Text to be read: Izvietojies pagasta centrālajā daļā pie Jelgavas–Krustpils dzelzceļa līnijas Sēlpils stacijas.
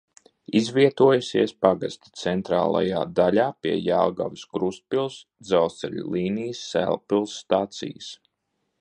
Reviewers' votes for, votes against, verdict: 1, 2, rejected